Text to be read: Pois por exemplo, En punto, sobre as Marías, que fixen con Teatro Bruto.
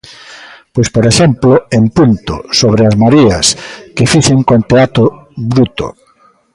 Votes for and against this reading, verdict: 1, 2, rejected